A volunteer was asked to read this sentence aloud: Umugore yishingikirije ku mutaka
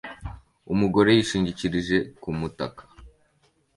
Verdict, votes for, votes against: accepted, 2, 0